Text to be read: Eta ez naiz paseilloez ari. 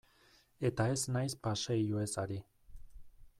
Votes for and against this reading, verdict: 2, 0, accepted